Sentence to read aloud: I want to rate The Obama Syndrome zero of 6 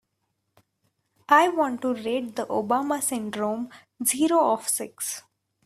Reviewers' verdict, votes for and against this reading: rejected, 0, 2